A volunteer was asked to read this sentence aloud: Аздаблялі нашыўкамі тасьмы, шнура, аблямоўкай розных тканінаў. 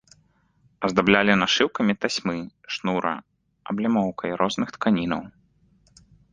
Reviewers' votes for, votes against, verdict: 2, 0, accepted